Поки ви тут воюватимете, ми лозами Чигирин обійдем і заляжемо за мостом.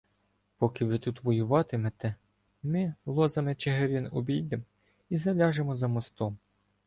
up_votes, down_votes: 1, 2